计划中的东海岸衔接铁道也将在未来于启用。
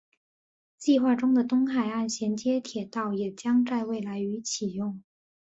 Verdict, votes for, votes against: accepted, 4, 0